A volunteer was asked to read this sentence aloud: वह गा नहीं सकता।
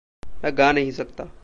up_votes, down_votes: 1, 2